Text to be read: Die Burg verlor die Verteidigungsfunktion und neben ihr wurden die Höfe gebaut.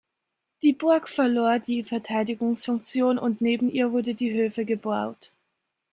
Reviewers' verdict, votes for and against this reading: rejected, 0, 2